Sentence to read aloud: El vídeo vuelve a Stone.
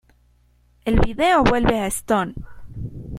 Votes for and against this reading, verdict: 2, 0, accepted